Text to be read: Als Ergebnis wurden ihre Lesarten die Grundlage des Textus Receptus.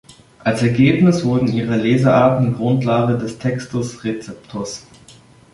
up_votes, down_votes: 0, 2